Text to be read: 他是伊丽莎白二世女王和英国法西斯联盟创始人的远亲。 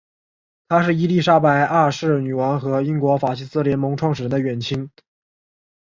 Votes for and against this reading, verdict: 0, 2, rejected